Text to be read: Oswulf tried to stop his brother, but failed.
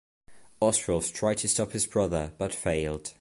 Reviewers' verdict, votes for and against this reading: accepted, 2, 0